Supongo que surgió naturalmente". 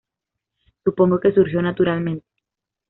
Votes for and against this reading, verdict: 2, 0, accepted